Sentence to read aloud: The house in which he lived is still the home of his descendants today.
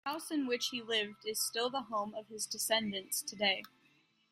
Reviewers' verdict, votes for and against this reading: accepted, 2, 0